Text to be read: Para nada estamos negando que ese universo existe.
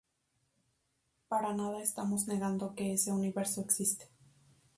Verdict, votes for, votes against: rejected, 0, 2